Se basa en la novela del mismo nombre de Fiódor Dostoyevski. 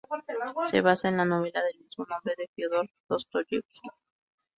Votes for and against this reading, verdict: 0, 4, rejected